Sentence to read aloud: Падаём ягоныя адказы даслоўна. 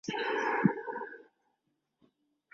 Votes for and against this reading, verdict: 0, 2, rejected